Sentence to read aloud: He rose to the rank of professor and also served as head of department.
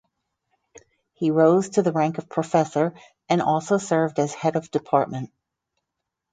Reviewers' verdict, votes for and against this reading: accepted, 4, 0